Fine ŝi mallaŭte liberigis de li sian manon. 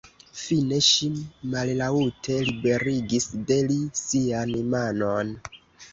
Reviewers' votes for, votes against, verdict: 2, 0, accepted